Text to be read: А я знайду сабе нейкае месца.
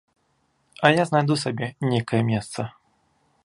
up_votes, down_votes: 2, 0